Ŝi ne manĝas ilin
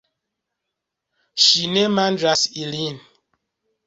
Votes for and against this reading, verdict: 1, 2, rejected